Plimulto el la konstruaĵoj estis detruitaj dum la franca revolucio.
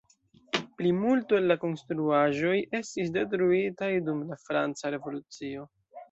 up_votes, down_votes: 1, 2